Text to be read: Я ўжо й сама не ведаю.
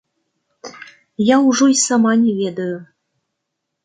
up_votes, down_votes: 2, 0